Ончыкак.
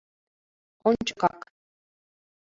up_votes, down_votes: 2, 0